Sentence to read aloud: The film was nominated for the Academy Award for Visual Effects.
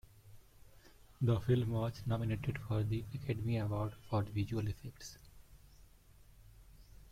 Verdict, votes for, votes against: rejected, 1, 2